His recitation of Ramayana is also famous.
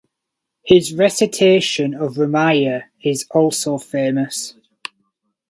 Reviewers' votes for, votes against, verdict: 2, 2, rejected